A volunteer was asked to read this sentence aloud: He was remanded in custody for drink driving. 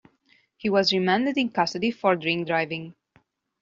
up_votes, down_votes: 2, 0